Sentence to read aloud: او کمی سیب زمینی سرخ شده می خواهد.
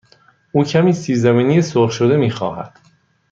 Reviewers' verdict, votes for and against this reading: accepted, 3, 0